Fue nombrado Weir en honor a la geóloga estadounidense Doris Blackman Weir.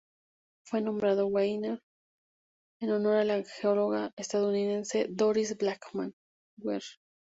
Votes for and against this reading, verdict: 0, 2, rejected